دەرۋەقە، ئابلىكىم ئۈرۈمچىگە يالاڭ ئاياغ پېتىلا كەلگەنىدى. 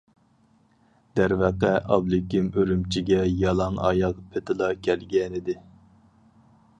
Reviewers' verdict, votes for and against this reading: accepted, 4, 0